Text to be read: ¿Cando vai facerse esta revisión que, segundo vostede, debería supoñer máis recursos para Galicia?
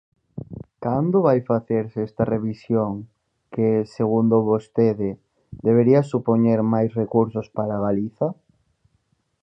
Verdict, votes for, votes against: rejected, 0, 4